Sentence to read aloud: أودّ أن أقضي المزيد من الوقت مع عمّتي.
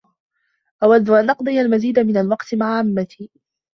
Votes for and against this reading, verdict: 2, 1, accepted